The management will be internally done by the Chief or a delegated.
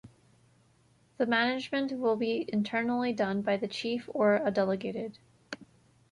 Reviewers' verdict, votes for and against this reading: accepted, 2, 0